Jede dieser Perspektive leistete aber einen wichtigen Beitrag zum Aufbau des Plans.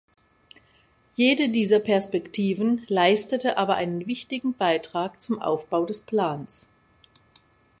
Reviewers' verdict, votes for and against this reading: rejected, 0, 2